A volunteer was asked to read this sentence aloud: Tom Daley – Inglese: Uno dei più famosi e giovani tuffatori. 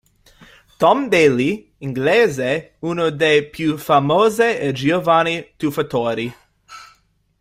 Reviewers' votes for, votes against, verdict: 0, 2, rejected